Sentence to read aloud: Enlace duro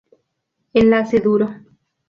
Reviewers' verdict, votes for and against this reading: rejected, 0, 2